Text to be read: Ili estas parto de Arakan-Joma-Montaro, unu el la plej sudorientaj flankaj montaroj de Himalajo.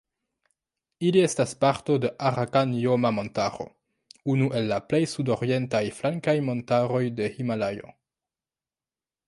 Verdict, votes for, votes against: rejected, 0, 2